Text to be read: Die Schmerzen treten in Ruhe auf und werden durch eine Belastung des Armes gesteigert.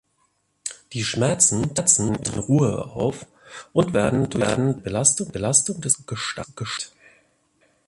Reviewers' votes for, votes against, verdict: 0, 2, rejected